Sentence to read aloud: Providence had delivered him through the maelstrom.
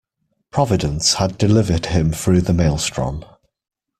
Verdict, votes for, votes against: accepted, 2, 0